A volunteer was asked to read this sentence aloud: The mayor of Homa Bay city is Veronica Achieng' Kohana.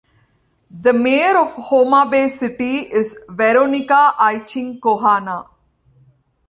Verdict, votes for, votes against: accepted, 2, 0